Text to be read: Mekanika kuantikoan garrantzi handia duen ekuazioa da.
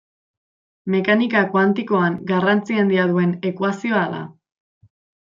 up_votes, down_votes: 2, 0